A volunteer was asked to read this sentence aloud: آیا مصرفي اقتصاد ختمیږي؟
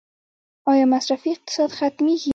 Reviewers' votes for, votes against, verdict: 1, 2, rejected